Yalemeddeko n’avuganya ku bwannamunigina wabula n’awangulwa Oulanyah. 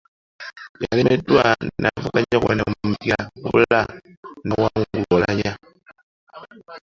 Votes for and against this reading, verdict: 2, 0, accepted